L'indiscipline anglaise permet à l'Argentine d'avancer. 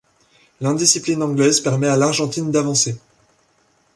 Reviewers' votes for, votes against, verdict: 2, 0, accepted